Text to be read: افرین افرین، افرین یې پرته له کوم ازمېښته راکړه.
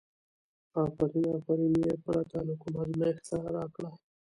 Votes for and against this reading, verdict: 1, 2, rejected